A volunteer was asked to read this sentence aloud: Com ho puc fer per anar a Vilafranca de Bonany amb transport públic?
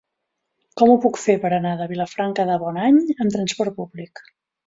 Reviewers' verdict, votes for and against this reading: rejected, 1, 2